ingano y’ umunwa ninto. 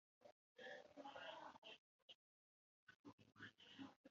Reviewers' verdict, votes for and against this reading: rejected, 0, 2